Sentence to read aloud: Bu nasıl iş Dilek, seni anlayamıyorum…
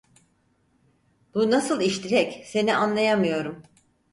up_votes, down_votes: 4, 0